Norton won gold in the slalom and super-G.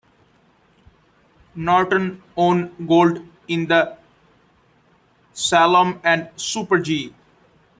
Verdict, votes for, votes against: rejected, 0, 2